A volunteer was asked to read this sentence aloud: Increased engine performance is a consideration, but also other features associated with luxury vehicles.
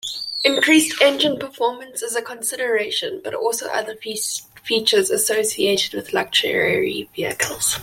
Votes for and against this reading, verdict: 0, 2, rejected